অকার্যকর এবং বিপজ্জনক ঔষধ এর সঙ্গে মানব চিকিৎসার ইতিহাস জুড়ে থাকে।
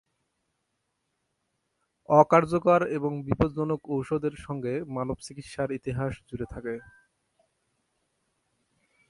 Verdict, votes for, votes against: rejected, 2, 2